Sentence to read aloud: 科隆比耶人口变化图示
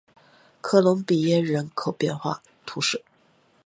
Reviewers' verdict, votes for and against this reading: accepted, 2, 0